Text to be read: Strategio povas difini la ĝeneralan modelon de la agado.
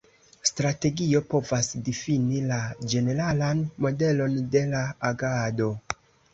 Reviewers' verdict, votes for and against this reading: accepted, 2, 1